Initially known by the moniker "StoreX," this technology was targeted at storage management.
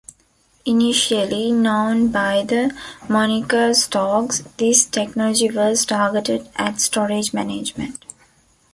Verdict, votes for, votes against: rejected, 1, 2